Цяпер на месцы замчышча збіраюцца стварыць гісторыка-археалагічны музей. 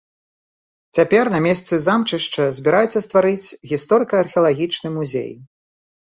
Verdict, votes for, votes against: accepted, 2, 0